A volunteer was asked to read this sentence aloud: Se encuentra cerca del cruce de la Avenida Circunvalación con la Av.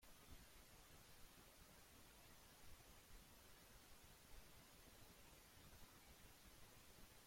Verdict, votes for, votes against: rejected, 0, 3